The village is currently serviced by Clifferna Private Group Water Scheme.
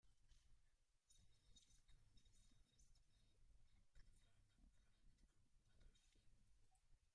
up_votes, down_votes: 0, 2